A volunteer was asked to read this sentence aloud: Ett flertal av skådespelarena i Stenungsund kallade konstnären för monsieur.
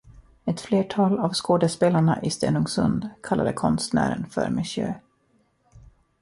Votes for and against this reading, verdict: 2, 0, accepted